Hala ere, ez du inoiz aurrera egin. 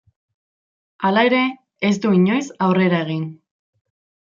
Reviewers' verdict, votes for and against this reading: accepted, 2, 0